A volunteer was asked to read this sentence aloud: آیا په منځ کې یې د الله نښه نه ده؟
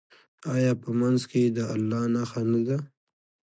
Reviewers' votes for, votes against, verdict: 2, 0, accepted